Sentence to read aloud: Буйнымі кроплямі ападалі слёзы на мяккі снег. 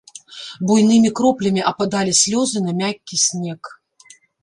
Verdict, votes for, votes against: rejected, 0, 2